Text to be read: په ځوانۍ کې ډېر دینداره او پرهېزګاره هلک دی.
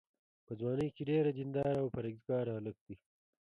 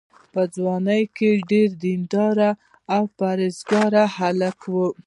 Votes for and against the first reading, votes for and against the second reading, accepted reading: 2, 0, 1, 2, first